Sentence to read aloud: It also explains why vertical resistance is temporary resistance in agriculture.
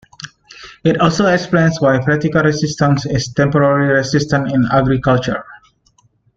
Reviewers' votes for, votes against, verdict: 1, 2, rejected